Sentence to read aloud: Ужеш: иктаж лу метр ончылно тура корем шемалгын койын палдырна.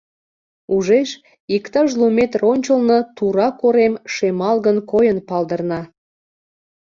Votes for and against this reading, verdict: 2, 0, accepted